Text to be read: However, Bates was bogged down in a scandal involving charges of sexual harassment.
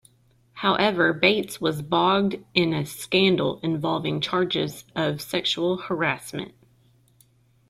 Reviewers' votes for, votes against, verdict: 1, 2, rejected